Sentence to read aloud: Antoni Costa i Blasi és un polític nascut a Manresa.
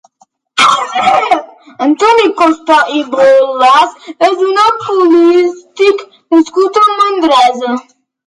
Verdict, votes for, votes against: rejected, 0, 2